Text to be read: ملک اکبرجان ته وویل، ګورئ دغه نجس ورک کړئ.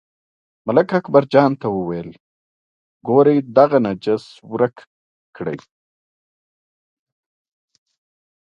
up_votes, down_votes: 1, 2